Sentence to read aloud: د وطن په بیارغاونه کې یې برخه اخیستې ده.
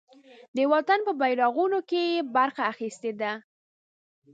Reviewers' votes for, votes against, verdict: 1, 2, rejected